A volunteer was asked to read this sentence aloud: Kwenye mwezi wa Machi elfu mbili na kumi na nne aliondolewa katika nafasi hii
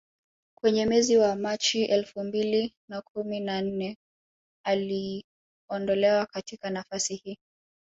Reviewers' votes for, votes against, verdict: 1, 2, rejected